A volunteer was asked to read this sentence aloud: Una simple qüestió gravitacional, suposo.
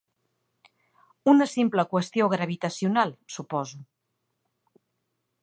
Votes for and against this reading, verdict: 2, 0, accepted